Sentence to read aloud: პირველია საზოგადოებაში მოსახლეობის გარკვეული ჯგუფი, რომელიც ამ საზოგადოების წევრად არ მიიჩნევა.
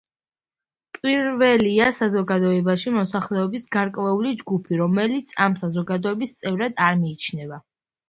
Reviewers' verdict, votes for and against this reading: accepted, 2, 0